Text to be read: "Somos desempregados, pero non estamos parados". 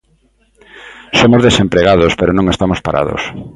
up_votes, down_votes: 2, 0